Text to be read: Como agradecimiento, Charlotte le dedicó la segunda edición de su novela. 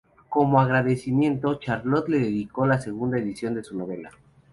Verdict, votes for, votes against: accepted, 2, 0